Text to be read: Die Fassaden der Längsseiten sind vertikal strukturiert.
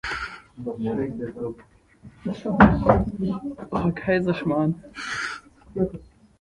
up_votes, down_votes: 0, 2